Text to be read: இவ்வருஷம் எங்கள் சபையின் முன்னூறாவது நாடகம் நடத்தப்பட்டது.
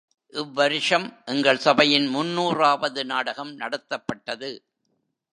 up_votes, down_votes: 2, 0